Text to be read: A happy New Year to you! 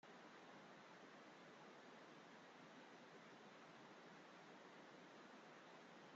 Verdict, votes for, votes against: rejected, 0, 2